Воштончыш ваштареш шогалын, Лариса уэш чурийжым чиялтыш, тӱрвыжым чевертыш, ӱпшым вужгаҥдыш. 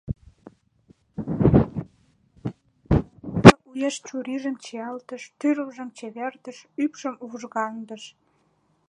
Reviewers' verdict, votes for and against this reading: rejected, 0, 2